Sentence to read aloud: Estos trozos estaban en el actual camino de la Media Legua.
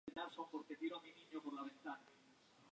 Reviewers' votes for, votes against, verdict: 0, 4, rejected